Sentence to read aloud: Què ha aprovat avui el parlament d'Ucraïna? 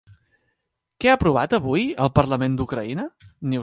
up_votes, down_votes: 2, 1